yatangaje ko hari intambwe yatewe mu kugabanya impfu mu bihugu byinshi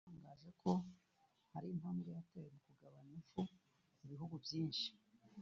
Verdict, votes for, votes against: rejected, 0, 2